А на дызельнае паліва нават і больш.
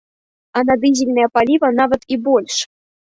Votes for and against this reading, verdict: 0, 2, rejected